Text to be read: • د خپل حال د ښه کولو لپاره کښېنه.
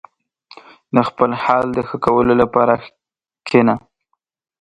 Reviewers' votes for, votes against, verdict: 2, 0, accepted